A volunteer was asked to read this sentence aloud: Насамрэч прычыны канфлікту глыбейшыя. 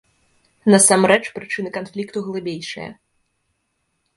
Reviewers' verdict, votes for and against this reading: accepted, 2, 0